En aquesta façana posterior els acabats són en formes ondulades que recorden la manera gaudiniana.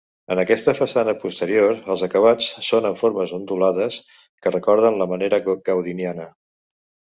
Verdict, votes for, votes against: rejected, 0, 2